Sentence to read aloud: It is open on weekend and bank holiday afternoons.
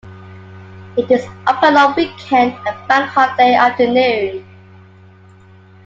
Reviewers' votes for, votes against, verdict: 1, 2, rejected